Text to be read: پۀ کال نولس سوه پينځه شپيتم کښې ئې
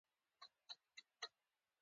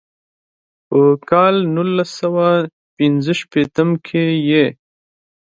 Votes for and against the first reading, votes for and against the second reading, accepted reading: 0, 2, 2, 0, second